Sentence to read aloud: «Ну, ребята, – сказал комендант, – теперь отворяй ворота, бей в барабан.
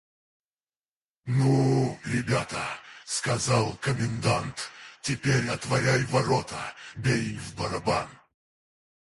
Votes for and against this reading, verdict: 2, 6, rejected